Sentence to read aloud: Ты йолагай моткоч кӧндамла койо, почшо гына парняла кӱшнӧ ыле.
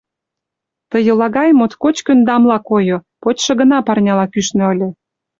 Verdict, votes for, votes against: accepted, 2, 0